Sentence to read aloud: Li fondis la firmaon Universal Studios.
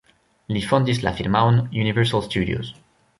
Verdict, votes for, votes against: rejected, 1, 2